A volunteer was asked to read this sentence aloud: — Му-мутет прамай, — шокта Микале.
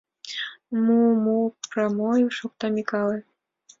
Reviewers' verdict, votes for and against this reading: rejected, 1, 2